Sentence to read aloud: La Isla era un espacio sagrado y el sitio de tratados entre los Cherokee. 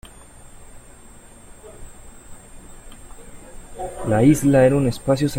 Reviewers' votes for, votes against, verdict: 0, 2, rejected